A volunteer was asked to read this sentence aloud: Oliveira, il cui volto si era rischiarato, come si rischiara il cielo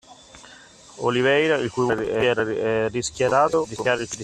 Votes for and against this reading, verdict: 0, 2, rejected